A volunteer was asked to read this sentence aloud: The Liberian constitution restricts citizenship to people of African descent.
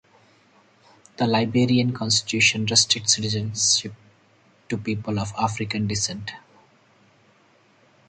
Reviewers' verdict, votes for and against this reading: rejected, 2, 2